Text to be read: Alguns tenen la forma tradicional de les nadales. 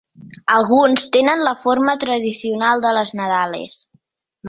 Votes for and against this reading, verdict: 3, 0, accepted